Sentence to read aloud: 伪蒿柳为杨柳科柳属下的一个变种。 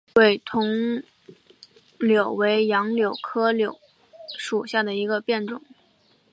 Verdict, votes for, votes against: rejected, 0, 2